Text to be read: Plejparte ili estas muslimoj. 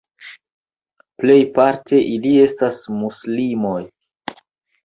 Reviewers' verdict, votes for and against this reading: accepted, 2, 0